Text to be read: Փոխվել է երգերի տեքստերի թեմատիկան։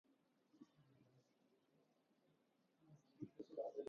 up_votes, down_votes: 0, 2